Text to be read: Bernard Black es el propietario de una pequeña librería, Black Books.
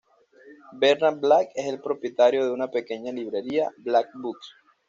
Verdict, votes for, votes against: accepted, 2, 0